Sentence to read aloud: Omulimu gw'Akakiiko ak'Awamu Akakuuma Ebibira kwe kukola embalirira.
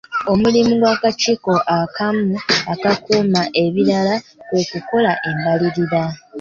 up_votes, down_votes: 0, 2